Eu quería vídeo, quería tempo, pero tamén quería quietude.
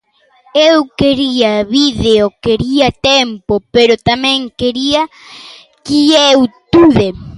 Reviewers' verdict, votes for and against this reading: rejected, 0, 2